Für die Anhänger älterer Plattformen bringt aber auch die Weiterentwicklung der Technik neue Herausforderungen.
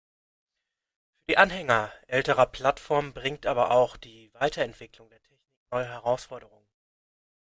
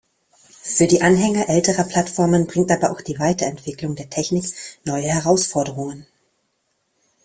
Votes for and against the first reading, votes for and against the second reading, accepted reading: 1, 2, 2, 0, second